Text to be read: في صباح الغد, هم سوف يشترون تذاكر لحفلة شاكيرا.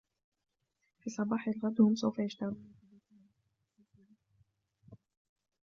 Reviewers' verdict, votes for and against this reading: rejected, 0, 3